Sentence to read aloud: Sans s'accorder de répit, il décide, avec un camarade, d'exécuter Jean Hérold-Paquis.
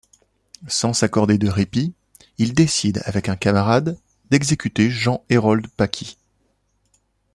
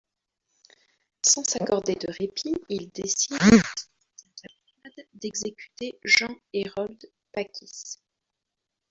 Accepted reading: first